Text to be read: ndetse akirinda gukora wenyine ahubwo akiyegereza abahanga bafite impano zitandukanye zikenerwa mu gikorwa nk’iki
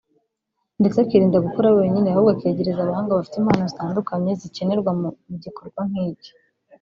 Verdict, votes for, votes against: rejected, 1, 2